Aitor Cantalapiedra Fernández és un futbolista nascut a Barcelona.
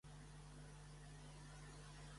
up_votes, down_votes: 0, 2